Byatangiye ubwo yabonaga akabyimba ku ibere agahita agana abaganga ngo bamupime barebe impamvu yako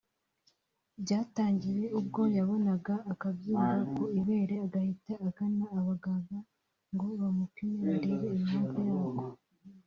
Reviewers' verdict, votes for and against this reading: accepted, 2, 1